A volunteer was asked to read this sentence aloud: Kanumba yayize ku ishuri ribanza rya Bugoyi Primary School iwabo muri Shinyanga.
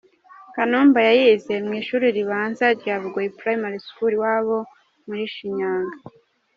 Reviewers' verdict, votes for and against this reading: rejected, 1, 2